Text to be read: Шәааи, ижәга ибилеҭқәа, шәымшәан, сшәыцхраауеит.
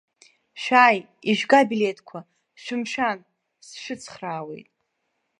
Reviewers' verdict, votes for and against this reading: accepted, 2, 0